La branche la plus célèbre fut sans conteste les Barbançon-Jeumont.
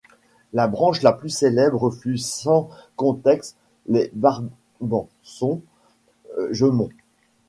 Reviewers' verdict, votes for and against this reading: rejected, 1, 2